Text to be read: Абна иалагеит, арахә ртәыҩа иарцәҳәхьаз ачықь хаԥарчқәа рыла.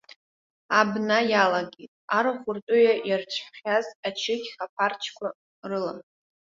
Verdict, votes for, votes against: rejected, 1, 2